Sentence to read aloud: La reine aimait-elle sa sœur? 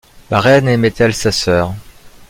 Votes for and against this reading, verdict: 2, 0, accepted